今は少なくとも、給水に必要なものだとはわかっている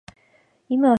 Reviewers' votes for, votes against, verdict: 0, 2, rejected